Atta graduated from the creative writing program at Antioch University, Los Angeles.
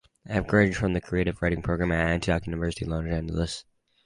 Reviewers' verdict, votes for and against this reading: rejected, 0, 2